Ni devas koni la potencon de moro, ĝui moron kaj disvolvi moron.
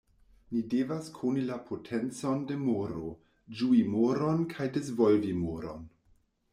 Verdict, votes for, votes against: accepted, 2, 0